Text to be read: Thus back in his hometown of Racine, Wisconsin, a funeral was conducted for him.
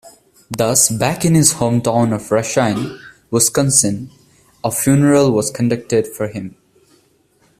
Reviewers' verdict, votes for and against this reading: accepted, 2, 0